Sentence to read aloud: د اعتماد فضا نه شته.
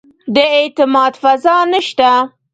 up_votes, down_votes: 0, 2